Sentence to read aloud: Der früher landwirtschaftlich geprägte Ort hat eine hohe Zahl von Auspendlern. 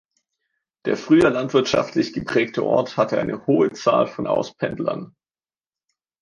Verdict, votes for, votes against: rejected, 1, 2